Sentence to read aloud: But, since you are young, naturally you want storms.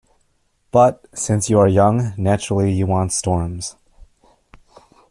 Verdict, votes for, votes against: accepted, 2, 0